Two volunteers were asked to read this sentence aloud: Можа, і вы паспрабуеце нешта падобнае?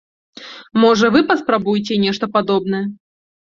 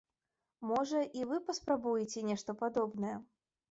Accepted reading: second